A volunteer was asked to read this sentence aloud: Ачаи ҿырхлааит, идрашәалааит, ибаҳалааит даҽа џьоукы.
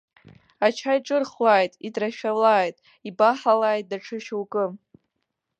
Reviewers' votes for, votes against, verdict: 1, 2, rejected